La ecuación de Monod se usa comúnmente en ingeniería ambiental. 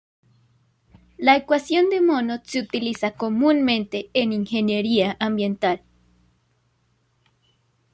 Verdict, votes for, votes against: rejected, 0, 2